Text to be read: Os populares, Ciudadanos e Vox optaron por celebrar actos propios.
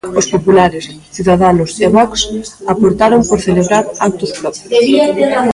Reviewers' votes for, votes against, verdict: 0, 2, rejected